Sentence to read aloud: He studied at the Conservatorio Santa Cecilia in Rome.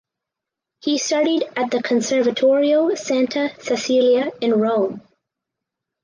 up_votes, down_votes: 4, 0